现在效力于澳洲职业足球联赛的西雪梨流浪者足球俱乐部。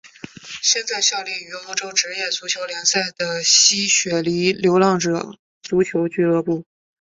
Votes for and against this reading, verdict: 2, 1, accepted